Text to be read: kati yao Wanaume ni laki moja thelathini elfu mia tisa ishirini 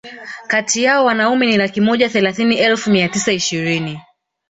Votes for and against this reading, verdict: 2, 0, accepted